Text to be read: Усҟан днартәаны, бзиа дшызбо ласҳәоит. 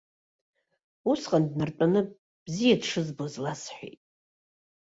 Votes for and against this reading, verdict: 0, 2, rejected